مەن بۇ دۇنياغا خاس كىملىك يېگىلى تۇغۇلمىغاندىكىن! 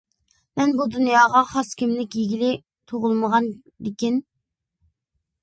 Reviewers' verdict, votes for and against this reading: accepted, 2, 0